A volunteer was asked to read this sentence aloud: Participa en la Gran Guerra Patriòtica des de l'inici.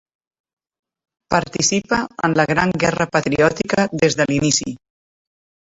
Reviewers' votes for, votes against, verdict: 1, 2, rejected